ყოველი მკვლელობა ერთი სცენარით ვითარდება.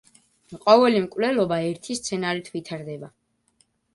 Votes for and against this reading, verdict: 2, 0, accepted